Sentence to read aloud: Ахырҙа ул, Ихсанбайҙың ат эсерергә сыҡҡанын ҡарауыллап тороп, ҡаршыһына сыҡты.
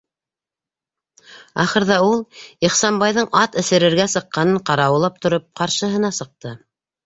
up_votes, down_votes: 3, 1